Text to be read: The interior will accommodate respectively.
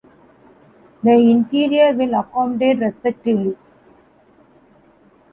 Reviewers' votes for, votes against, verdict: 2, 1, accepted